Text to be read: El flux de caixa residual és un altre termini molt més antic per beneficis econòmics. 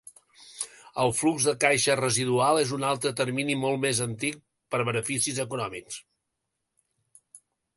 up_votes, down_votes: 2, 0